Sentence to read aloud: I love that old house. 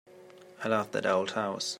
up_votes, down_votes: 3, 0